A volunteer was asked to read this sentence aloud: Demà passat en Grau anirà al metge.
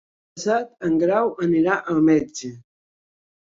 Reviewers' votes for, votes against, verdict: 1, 2, rejected